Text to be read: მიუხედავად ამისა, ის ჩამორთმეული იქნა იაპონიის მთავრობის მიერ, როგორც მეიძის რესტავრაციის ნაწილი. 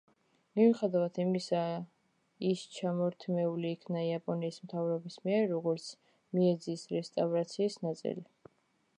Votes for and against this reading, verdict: 2, 1, accepted